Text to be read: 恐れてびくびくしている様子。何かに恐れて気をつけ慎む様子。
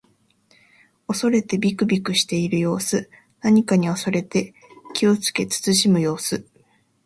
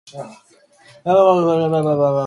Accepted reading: first